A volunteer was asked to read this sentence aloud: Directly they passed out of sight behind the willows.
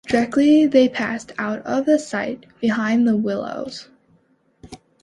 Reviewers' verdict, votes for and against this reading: rejected, 1, 2